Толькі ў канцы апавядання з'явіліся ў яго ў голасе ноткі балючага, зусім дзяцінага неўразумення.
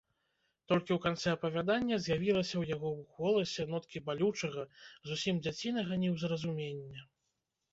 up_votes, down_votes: 0, 2